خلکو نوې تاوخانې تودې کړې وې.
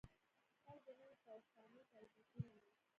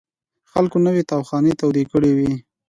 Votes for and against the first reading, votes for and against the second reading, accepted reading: 1, 2, 2, 0, second